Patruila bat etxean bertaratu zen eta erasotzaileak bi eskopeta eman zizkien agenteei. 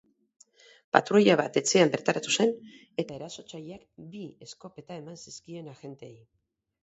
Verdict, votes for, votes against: rejected, 0, 2